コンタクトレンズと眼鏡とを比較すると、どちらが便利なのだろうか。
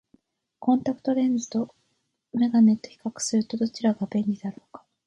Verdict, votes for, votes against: rejected, 0, 2